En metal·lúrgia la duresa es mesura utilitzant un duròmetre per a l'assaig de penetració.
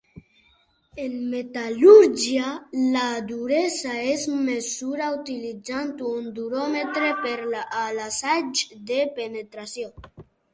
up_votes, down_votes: 2, 1